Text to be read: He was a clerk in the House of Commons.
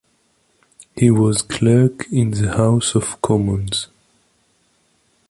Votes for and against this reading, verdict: 1, 2, rejected